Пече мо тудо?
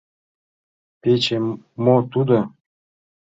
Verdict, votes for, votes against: rejected, 1, 2